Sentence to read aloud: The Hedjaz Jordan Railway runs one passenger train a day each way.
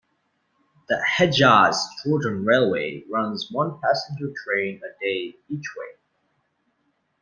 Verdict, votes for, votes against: accepted, 2, 0